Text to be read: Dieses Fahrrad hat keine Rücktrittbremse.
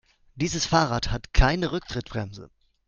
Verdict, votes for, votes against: accepted, 2, 0